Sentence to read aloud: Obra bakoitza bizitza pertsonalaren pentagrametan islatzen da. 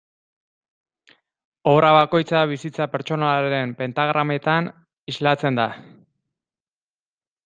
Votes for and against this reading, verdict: 0, 2, rejected